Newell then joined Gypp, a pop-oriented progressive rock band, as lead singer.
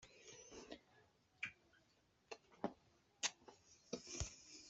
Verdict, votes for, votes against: rejected, 0, 2